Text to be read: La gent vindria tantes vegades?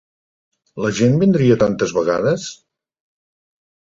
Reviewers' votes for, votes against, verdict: 3, 0, accepted